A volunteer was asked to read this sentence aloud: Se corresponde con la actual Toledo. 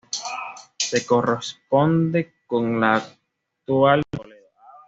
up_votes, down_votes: 1, 2